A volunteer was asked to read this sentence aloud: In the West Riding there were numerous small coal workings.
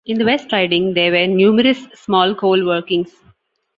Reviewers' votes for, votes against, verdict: 1, 2, rejected